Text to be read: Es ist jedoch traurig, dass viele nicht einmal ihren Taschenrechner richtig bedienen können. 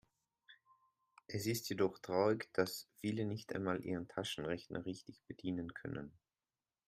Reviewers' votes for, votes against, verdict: 2, 0, accepted